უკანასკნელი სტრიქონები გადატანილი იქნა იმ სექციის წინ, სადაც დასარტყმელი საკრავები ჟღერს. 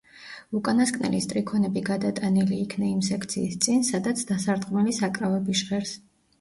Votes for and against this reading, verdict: 2, 0, accepted